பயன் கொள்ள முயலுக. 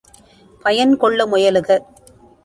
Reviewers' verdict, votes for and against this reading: accepted, 2, 0